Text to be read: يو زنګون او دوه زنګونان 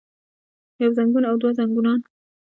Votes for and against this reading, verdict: 1, 2, rejected